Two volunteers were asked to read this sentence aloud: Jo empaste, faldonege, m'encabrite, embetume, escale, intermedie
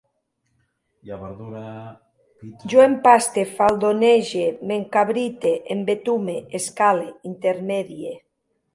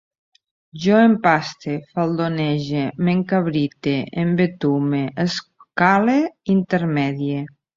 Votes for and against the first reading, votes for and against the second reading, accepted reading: 1, 2, 2, 1, second